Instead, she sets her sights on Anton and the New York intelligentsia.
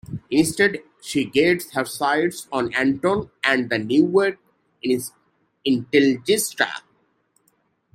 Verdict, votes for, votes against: rejected, 0, 2